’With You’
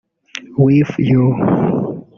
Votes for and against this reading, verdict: 1, 2, rejected